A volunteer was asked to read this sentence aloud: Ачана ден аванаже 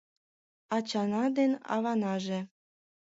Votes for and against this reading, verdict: 2, 0, accepted